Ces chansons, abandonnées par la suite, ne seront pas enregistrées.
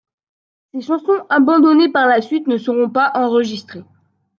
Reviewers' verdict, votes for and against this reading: accepted, 2, 1